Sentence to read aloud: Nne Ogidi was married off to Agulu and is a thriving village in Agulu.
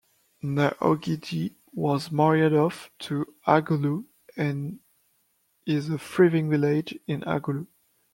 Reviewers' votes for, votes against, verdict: 0, 2, rejected